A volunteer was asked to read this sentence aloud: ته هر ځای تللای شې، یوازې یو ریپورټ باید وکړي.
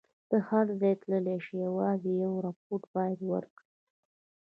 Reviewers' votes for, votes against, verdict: 2, 0, accepted